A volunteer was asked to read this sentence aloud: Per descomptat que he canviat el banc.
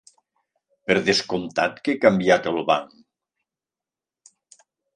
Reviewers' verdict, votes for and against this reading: accepted, 3, 0